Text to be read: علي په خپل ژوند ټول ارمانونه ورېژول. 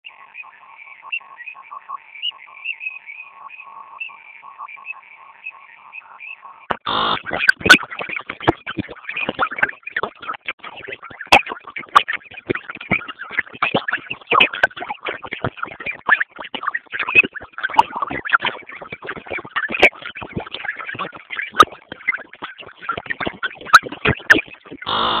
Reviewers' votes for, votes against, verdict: 0, 2, rejected